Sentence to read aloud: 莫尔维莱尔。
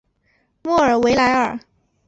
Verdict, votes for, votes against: accepted, 2, 0